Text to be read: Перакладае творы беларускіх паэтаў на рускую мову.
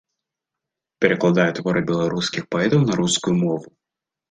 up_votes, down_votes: 2, 0